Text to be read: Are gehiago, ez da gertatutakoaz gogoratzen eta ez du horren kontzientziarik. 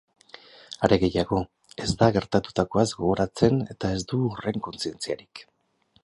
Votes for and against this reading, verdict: 6, 0, accepted